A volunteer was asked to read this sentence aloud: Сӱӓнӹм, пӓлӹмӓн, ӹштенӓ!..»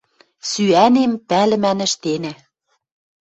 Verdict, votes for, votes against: rejected, 1, 2